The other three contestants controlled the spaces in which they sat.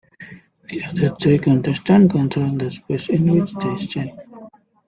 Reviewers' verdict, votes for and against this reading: rejected, 0, 2